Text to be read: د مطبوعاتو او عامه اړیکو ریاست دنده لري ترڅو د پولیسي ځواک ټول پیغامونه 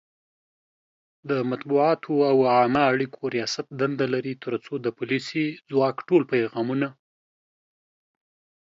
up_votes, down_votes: 2, 0